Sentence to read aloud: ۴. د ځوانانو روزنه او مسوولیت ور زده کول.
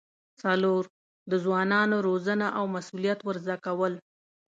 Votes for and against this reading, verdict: 0, 2, rejected